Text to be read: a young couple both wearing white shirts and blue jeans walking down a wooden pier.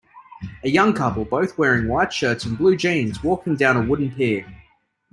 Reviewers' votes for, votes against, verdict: 2, 0, accepted